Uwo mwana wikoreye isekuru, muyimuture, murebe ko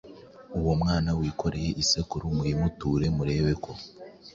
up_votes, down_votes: 3, 0